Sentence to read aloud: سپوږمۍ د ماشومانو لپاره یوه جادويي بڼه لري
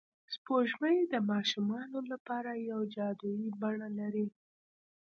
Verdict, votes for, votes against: rejected, 1, 2